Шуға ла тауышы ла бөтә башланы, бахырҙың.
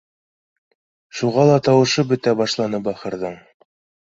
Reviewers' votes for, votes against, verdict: 2, 0, accepted